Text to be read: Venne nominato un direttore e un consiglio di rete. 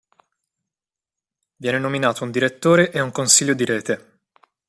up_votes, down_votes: 1, 2